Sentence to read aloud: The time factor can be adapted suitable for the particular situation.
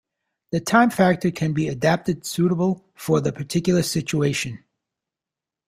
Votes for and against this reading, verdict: 2, 0, accepted